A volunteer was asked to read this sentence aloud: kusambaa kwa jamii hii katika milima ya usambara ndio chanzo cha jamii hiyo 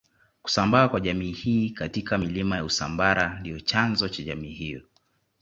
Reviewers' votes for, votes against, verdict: 2, 0, accepted